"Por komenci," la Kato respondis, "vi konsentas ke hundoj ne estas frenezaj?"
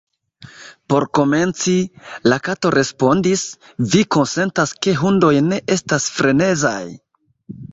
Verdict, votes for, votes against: rejected, 1, 2